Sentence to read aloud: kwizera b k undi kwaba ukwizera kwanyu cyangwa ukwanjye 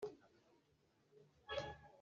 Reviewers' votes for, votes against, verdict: 1, 2, rejected